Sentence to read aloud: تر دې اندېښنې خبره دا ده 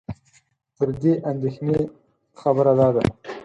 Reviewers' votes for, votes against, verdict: 4, 0, accepted